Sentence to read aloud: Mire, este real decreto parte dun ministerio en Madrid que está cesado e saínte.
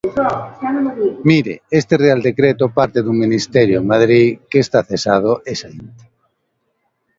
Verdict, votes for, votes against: rejected, 0, 2